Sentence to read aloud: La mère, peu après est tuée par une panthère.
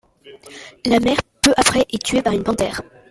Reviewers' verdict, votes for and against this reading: rejected, 1, 2